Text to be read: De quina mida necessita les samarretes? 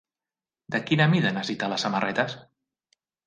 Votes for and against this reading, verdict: 1, 2, rejected